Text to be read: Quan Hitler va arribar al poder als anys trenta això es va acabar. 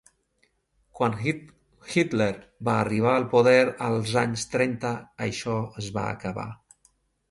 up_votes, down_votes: 0, 2